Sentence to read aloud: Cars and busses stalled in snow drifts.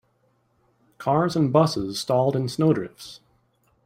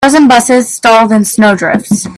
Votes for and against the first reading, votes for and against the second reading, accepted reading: 2, 0, 0, 2, first